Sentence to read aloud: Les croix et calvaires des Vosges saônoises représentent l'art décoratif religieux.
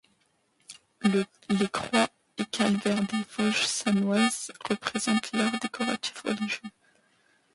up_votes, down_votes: 0, 2